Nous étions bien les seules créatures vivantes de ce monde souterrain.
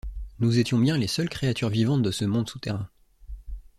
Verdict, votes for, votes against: accepted, 2, 0